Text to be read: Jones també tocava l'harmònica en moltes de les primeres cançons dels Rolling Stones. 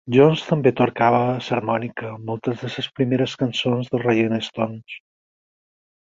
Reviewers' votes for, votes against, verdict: 0, 4, rejected